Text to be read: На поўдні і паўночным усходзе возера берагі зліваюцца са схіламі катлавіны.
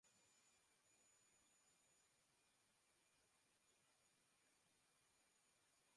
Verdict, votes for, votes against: rejected, 0, 2